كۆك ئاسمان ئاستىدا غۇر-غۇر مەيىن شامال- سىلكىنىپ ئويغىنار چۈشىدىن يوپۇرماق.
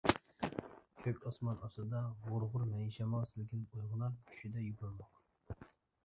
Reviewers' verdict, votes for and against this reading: rejected, 0, 2